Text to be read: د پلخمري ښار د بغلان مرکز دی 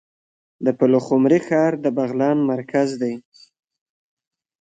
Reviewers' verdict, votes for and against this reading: accepted, 2, 1